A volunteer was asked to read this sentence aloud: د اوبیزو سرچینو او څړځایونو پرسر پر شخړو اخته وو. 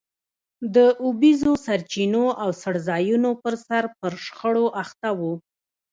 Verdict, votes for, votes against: accepted, 2, 0